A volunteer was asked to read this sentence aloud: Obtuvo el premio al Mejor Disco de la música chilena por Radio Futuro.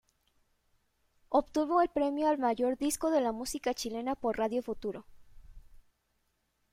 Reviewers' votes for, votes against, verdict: 0, 2, rejected